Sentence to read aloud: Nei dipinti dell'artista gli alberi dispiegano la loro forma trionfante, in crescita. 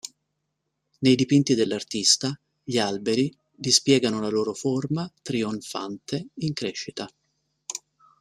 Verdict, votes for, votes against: rejected, 1, 2